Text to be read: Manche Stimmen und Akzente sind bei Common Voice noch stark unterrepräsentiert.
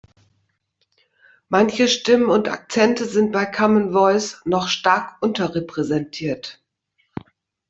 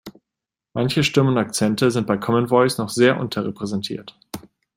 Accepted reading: first